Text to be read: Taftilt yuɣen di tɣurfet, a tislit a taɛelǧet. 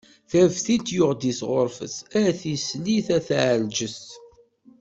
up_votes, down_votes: 2, 1